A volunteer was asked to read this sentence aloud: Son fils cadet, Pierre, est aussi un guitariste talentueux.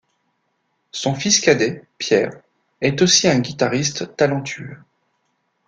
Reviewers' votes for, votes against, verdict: 2, 0, accepted